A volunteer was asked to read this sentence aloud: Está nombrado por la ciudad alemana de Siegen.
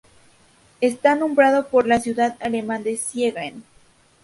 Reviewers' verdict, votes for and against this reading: rejected, 0, 2